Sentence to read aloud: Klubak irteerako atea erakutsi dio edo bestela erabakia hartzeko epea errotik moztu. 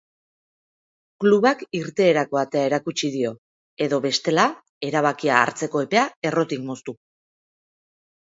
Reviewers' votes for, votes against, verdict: 2, 0, accepted